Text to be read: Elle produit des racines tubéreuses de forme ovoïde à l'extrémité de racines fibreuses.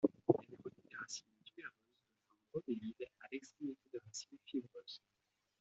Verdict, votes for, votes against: rejected, 0, 2